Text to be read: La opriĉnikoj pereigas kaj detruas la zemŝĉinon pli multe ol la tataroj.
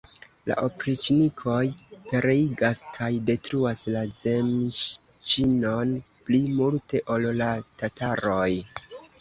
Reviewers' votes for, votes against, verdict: 2, 0, accepted